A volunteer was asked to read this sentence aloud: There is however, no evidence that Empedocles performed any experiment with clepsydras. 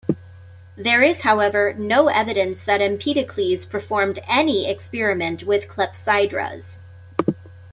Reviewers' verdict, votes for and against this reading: accepted, 2, 0